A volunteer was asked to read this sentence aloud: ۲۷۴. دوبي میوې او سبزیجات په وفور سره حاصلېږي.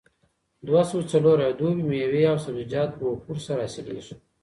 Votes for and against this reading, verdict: 0, 2, rejected